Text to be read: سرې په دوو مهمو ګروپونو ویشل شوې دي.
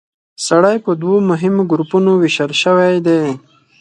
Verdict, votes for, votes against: rejected, 2, 4